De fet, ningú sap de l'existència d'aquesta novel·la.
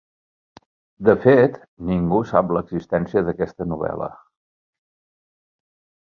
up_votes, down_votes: 1, 2